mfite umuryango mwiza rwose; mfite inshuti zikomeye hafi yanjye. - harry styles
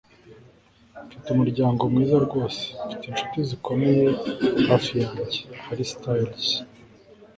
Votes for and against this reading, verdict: 4, 0, accepted